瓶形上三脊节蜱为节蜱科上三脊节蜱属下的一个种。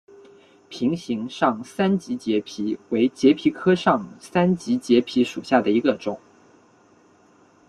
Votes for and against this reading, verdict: 2, 0, accepted